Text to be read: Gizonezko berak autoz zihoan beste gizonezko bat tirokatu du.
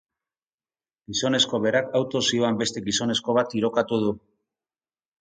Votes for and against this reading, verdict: 4, 2, accepted